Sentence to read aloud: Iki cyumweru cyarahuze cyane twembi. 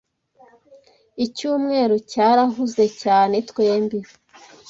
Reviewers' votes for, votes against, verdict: 1, 2, rejected